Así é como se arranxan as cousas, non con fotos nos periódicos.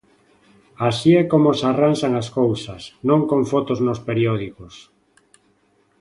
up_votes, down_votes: 2, 0